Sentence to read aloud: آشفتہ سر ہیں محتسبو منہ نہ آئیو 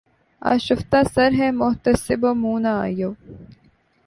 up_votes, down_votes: 3, 0